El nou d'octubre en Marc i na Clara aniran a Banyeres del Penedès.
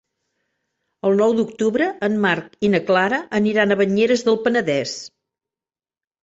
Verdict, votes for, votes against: accepted, 3, 0